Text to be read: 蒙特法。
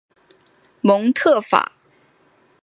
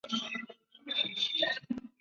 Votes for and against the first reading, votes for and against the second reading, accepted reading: 2, 0, 0, 2, first